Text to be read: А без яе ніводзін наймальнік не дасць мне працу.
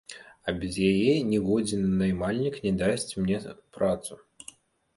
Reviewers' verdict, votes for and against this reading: rejected, 0, 2